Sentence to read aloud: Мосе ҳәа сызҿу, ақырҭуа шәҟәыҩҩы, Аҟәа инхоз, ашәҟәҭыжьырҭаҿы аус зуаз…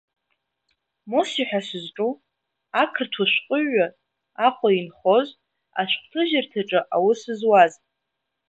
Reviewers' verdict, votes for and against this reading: accepted, 2, 0